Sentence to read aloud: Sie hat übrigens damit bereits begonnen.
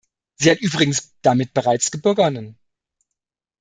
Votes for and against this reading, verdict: 1, 2, rejected